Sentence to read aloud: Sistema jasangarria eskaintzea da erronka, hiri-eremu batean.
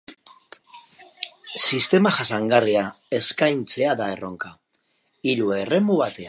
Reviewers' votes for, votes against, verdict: 0, 4, rejected